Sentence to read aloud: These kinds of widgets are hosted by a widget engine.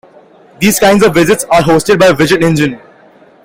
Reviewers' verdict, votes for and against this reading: accepted, 2, 0